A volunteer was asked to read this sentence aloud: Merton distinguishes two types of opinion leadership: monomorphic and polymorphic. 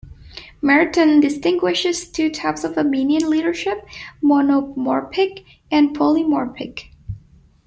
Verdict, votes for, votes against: rejected, 0, 2